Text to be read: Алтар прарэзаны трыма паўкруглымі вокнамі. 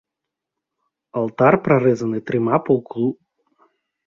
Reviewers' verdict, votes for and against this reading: rejected, 0, 2